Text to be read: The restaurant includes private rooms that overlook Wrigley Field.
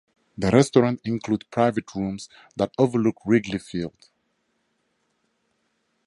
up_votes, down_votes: 0, 2